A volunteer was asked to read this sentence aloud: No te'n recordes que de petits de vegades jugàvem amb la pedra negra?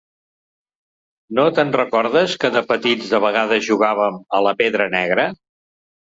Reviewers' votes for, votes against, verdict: 0, 2, rejected